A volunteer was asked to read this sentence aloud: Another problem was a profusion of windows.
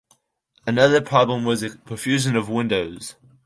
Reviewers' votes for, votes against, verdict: 2, 0, accepted